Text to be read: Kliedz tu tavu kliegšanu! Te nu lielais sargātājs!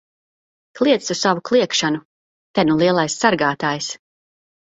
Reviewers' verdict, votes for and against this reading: rejected, 2, 4